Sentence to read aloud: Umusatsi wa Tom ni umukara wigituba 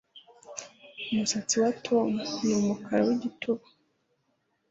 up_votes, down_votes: 2, 0